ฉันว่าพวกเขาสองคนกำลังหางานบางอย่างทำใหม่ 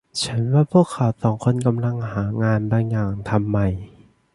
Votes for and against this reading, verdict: 1, 2, rejected